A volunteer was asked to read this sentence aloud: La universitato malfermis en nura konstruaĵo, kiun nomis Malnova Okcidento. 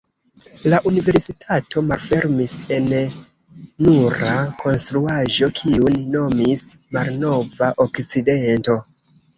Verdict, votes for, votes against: rejected, 1, 2